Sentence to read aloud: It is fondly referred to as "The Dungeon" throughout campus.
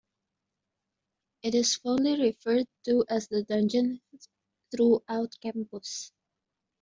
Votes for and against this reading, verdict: 2, 0, accepted